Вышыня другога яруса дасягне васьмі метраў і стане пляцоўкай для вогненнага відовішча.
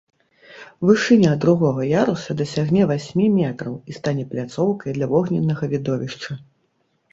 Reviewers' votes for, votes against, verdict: 3, 0, accepted